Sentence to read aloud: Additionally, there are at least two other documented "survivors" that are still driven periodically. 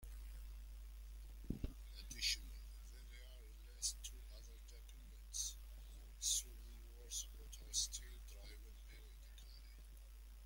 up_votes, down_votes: 0, 2